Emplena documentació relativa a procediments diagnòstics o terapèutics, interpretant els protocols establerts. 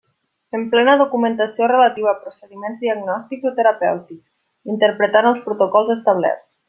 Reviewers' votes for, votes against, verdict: 2, 0, accepted